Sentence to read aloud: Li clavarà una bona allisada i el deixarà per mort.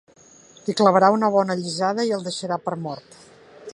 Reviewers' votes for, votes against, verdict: 2, 0, accepted